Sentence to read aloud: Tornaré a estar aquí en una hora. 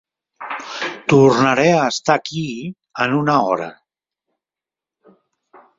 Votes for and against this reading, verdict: 2, 1, accepted